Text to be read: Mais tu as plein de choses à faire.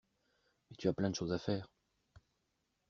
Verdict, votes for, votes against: rejected, 1, 3